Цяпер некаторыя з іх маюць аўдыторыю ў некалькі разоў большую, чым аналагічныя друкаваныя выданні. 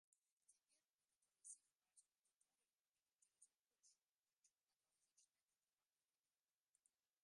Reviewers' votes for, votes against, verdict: 0, 3, rejected